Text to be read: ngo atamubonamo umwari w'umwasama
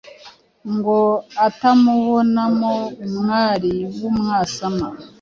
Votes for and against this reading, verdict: 2, 0, accepted